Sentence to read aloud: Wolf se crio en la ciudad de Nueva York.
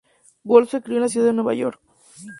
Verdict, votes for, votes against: accepted, 2, 0